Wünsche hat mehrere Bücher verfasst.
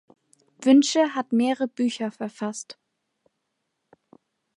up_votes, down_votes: 0, 2